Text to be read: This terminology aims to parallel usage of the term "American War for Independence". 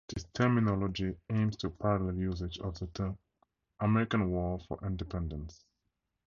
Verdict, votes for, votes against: rejected, 0, 2